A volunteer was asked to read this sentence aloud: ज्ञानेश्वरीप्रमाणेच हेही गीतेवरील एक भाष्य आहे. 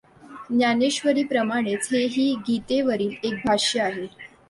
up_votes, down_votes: 2, 0